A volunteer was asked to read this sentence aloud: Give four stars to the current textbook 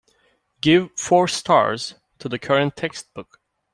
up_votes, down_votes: 2, 0